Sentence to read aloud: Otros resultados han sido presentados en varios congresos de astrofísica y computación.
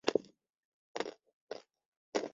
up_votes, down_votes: 0, 2